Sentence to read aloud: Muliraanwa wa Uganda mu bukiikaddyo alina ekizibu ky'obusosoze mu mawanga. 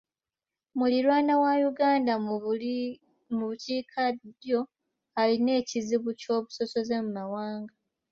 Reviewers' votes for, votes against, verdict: 1, 2, rejected